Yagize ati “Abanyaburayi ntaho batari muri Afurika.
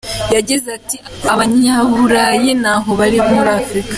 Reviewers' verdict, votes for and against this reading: rejected, 0, 2